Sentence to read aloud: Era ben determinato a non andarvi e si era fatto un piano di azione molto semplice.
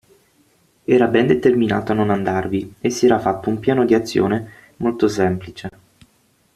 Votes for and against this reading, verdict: 6, 0, accepted